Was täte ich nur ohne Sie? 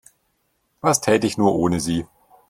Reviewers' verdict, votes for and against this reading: accepted, 2, 0